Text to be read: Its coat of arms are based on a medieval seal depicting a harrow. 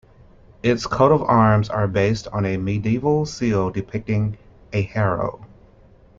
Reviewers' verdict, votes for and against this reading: accepted, 2, 0